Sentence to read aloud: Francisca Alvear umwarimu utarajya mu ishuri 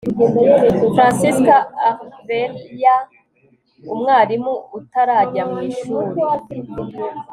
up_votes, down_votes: 3, 0